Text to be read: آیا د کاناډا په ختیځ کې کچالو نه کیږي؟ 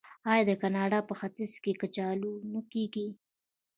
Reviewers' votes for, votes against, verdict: 1, 2, rejected